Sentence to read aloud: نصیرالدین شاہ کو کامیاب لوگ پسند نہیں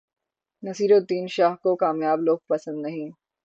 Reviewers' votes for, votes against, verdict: 27, 0, accepted